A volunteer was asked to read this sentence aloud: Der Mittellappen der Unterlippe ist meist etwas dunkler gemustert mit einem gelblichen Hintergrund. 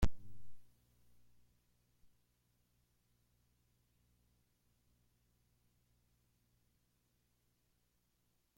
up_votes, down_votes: 0, 2